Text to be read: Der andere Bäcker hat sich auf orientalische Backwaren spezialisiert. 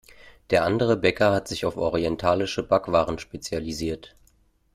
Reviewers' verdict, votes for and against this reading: accepted, 2, 0